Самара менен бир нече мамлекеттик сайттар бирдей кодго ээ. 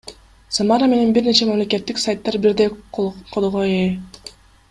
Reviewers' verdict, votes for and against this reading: accepted, 2, 1